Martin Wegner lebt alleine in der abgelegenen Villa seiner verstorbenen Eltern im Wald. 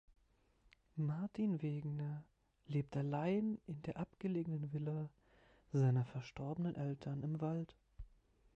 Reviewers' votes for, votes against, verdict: 0, 2, rejected